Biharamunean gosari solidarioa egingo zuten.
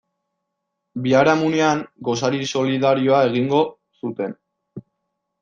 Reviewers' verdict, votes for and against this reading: accepted, 2, 0